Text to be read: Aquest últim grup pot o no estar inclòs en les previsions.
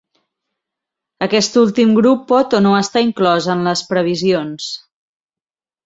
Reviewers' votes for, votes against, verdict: 4, 0, accepted